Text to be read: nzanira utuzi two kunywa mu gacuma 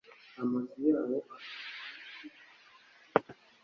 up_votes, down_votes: 1, 2